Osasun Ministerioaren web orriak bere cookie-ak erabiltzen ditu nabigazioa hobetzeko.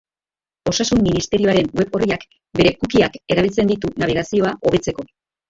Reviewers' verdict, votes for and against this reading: accepted, 3, 0